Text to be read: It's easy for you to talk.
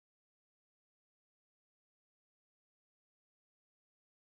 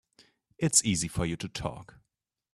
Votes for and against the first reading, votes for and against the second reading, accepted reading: 0, 2, 2, 0, second